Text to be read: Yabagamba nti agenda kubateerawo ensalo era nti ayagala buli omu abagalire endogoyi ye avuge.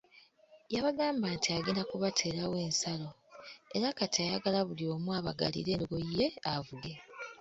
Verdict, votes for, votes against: rejected, 1, 2